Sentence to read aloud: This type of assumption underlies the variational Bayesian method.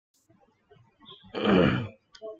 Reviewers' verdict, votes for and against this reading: rejected, 1, 2